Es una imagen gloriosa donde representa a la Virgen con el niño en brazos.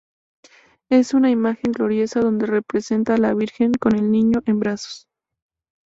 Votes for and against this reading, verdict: 2, 0, accepted